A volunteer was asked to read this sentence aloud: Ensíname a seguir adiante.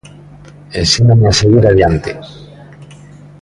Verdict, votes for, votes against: accepted, 2, 0